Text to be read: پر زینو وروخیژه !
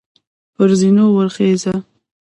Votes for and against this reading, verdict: 0, 2, rejected